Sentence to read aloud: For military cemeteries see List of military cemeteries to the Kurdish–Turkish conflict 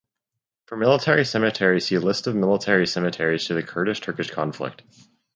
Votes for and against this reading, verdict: 4, 0, accepted